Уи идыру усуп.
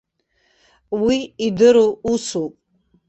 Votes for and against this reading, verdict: 2, 0, accepted